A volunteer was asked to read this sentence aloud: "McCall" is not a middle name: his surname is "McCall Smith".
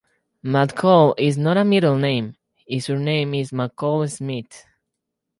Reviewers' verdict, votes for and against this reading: accepted, 2, 0